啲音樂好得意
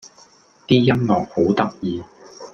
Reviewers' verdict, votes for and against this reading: accepted, 2, 0